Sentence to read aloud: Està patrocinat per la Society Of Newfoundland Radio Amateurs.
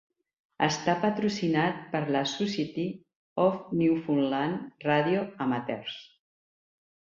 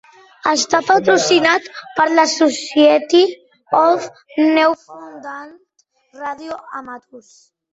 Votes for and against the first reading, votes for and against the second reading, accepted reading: 3, 1, 0, 2, first